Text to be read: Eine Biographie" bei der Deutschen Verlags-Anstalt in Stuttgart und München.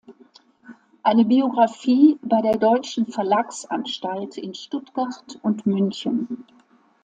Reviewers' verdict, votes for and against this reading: accepted, 2, 0